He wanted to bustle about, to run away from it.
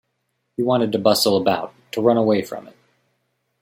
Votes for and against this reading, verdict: 2, 0, accepted